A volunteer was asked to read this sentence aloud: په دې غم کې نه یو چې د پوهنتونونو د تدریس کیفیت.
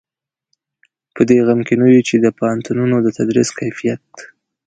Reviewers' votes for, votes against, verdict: 2, 0, accepted